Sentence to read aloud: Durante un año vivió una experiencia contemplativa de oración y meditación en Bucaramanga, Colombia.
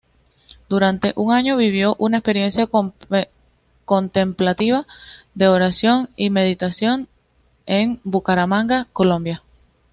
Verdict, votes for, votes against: rejected, 1, 2